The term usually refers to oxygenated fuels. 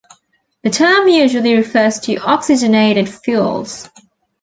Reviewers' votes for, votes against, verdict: 2, 0, accepted